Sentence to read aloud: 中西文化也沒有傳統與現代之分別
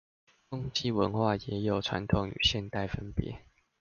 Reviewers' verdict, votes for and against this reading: rejected, 0, 2